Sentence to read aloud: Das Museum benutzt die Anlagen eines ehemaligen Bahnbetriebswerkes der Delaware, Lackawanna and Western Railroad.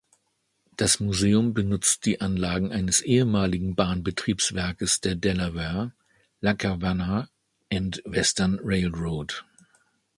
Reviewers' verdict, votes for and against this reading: accepted, 2, 0